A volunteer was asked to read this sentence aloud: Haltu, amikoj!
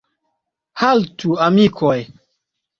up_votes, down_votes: 2, 0